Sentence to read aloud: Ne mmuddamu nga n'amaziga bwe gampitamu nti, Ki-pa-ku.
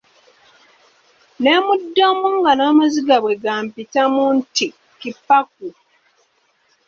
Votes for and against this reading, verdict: 2, 0, accepted